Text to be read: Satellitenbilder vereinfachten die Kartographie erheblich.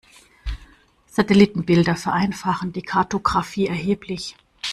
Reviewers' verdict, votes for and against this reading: rejected, 1, 2